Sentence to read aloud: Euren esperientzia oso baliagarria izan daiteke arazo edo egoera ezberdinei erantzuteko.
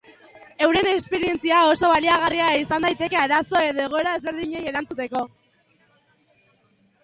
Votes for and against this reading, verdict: 2, 0, accepted